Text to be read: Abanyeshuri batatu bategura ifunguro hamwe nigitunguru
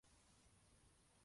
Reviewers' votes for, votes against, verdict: 0, 2, rejected